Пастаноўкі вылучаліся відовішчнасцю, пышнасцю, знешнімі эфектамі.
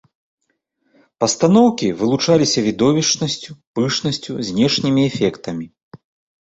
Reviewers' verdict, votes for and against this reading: accepted, 2, 0